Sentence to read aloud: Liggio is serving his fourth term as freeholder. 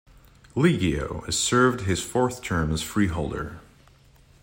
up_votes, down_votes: 1, 2